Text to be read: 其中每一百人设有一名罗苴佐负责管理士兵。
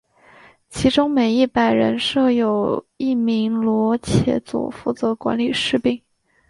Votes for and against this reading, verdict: 1, 2, rejected